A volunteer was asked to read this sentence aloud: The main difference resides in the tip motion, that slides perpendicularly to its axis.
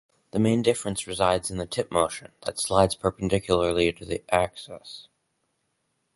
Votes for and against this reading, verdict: 2, 4, rejected